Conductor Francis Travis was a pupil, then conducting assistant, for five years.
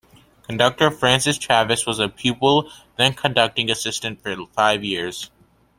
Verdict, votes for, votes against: accepted, 2, 1